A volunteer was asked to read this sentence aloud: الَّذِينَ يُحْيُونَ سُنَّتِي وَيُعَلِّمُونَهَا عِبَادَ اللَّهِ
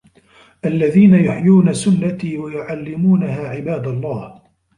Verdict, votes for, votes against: rejected, 1, 2